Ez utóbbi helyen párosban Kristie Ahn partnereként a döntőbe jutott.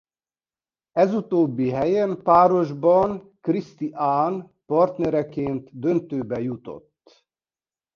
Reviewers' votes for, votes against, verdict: 0, 2, rejected